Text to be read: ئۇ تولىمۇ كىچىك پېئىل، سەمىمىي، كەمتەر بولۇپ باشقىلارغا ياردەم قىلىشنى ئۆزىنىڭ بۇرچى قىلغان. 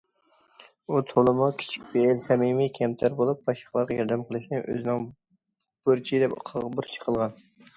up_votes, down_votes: 0, 2